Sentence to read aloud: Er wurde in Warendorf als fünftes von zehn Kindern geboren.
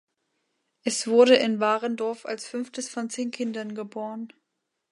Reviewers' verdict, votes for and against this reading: rejected, 1, 2